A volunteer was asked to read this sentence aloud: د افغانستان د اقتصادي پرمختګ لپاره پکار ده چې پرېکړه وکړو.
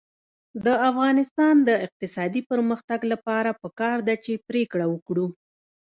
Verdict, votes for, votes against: rejected, 1, 2